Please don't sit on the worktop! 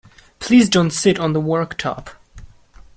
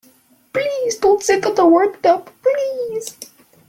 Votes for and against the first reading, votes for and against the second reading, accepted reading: 2, 0, 0, 2, first